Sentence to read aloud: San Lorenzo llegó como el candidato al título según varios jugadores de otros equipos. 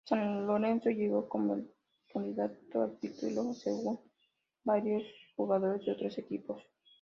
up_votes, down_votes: 0, 2